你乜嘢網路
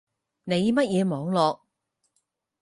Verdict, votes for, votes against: rejected, 2, 4